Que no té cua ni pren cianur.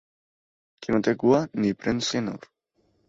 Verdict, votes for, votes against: accepted, 2, 0